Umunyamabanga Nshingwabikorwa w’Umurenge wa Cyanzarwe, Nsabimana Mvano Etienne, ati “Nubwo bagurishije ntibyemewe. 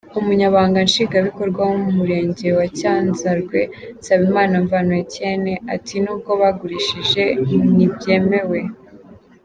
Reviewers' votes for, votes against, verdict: 2, 1, accepted